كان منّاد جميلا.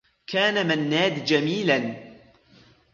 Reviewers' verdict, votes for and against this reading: accepted, 2, 1